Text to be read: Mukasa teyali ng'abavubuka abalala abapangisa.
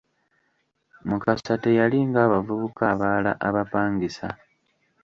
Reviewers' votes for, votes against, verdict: 0, 2, rejected